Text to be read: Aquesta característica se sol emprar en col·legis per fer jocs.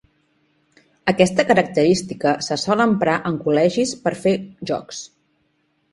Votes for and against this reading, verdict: 2, 0, accepted